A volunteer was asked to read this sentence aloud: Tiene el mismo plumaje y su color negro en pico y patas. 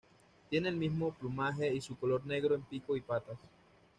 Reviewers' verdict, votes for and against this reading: accepted, 2, 0